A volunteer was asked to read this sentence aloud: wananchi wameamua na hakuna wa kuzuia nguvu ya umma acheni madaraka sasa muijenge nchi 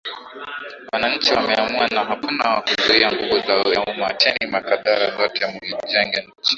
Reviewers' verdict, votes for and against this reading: rejected, 1, 2